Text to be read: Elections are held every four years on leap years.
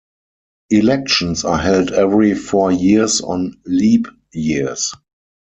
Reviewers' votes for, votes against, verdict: 4, 0, accepted